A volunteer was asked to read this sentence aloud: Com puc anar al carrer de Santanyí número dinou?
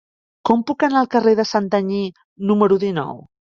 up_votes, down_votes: 4, 0